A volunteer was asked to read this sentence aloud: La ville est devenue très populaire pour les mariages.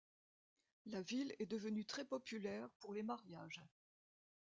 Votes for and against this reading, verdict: 2, 0, accepted